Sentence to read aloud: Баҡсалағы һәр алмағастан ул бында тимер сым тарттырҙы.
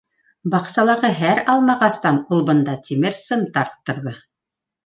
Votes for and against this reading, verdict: 2, 0, accepted